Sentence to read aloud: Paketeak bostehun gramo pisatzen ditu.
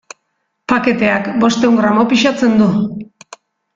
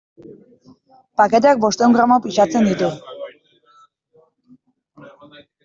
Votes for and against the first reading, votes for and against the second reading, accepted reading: 0, 2, 2, 0, second